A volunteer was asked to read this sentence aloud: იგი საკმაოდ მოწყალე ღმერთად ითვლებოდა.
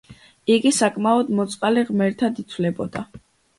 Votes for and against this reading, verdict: 2, 0, accepted